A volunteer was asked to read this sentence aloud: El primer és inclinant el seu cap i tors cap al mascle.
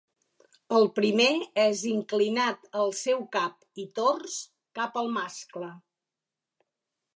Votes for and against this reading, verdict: 0, 3, rejected